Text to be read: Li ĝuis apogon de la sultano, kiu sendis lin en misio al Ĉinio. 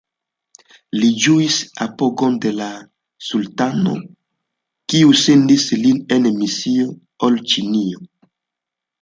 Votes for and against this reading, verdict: 2, 1, accepted